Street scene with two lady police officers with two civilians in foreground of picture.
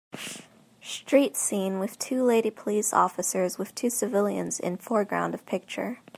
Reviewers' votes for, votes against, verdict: 3, 0, accepted